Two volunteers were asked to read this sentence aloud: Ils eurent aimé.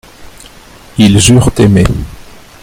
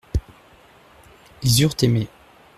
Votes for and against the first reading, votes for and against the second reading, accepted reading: 1, 2, 2, 0, second